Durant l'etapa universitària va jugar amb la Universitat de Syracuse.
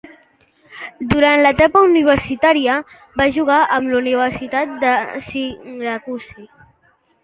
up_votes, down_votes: 0, 2